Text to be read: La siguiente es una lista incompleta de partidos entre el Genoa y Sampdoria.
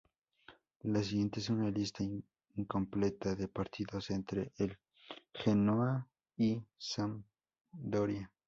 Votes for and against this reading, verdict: 2, 2, rejected